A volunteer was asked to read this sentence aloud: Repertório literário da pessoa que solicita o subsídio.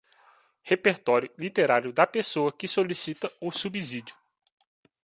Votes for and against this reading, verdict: 2, 0, accepted